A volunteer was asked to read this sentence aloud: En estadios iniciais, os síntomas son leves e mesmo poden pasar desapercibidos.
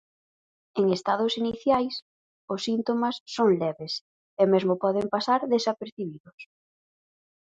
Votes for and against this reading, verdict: 0, 4, rejected